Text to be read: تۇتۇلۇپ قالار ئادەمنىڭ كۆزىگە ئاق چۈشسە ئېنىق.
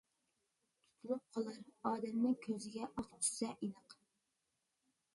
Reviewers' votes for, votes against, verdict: 0, 2, rejected